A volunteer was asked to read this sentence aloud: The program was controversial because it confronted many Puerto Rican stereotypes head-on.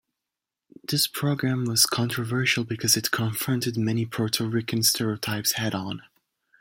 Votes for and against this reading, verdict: 0, 2, rejected